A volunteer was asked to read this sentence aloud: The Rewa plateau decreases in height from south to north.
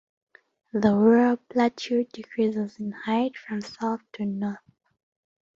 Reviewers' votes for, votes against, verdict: 0, 2, rejected